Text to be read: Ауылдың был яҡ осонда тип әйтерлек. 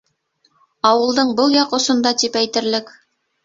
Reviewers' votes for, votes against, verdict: 2, 0, accepted